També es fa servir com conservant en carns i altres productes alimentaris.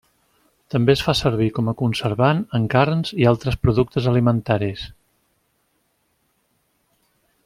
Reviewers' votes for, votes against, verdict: 1, 2, rejected